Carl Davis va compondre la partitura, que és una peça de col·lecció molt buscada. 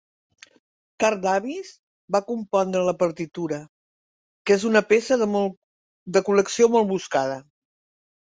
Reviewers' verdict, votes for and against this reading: rejected, 0, 2